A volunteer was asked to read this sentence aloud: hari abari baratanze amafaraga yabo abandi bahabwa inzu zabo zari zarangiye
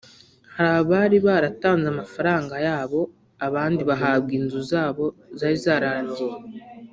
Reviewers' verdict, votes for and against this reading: rejected, 0, 2